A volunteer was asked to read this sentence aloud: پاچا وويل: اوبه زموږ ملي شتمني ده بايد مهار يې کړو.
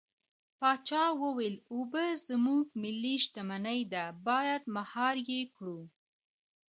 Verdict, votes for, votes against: rejected, 1, 2